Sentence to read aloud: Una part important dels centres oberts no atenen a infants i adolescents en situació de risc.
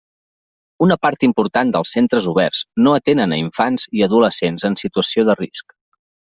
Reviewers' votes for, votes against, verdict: 3, 0, accepted